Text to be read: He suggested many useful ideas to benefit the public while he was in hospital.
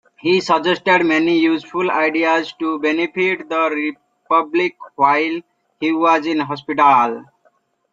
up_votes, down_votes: 0, 2